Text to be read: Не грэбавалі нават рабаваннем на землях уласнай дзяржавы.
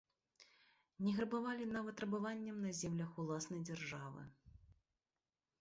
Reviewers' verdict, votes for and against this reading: rejected, 0, 2